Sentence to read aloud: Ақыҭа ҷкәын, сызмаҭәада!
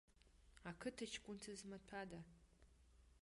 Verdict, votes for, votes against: rejected, 0, 2